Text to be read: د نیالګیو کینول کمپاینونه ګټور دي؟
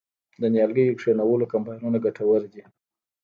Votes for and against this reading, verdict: 1, 2, rejected